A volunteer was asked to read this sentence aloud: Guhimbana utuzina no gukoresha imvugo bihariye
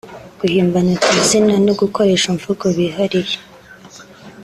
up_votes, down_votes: 2, 0